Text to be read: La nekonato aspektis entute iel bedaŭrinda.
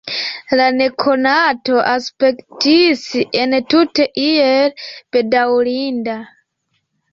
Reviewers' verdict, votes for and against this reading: rejected, 1, 2